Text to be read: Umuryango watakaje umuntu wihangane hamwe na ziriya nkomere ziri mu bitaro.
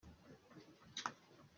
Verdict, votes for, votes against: rejected, 0, 2